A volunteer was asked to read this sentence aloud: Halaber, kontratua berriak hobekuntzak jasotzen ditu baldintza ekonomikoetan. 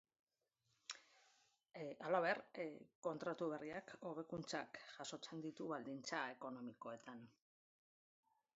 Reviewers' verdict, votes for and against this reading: rejected, 1, 2